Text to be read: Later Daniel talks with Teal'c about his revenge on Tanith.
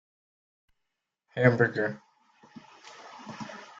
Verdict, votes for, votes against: rejected, 0, 2